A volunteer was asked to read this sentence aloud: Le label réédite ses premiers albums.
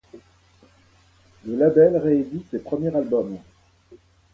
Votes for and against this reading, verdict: 0, 2, rejected